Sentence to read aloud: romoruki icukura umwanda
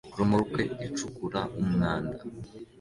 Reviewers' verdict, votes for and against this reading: accepted, 2, 0